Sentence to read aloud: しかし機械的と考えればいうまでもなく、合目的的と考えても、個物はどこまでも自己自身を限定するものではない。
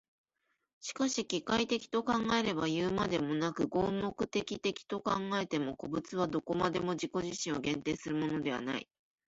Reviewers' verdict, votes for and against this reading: accepted, 2, 0